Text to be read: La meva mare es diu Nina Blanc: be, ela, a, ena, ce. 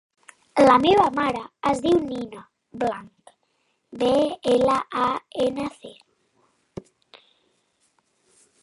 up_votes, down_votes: 2, 0